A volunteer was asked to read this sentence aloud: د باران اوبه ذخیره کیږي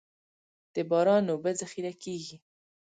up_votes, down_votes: 2, 0